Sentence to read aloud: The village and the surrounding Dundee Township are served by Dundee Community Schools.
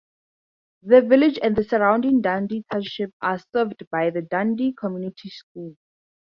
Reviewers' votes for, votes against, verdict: 2, 0, accepted